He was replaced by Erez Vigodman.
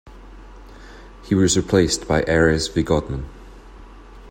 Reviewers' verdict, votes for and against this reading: accepted, 2, 0